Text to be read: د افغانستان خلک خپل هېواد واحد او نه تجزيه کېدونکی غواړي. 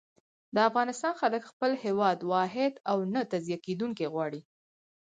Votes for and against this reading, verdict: 4, 0, accepted